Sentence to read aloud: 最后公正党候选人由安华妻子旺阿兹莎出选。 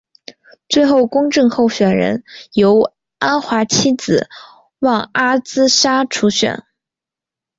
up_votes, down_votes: 2, 0